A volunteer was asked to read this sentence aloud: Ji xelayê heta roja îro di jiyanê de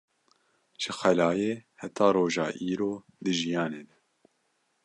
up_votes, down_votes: 2, 0